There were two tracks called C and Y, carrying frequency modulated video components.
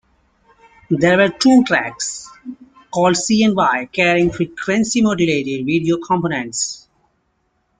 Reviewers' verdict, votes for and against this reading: rejected, 1, 2